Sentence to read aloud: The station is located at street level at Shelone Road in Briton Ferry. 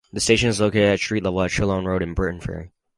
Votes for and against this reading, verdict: 4, 2, accepted